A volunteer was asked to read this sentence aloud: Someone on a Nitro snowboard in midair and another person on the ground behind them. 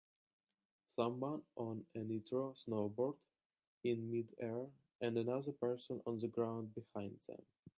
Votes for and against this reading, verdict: 2, 1, accepted